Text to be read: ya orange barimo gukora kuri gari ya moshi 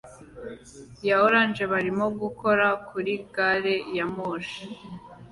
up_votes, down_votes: 2, 0